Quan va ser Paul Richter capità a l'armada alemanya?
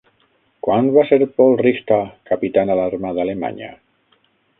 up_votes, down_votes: 3, 6